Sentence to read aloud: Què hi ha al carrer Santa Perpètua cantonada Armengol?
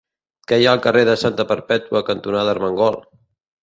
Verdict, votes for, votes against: rejected, 1, 2